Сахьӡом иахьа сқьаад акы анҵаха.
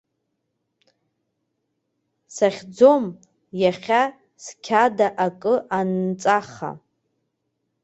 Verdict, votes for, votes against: rejected, 0, 2